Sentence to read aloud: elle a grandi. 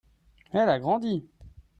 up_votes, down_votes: 2, 0